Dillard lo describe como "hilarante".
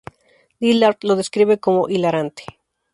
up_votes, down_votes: 2, 0